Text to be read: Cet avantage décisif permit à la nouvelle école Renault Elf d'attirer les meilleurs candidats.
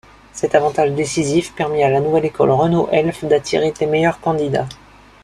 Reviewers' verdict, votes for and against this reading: accepted, 2, 0